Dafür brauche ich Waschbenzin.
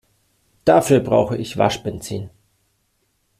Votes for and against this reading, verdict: 2, 0, accepted